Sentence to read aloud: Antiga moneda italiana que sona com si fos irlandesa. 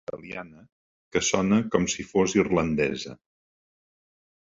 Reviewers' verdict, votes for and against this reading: rejected, 0, 2